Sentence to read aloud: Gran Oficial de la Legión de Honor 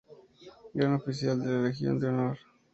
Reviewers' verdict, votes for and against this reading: accepted, 2, 0